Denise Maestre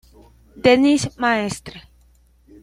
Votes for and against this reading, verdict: 2, 0, accepted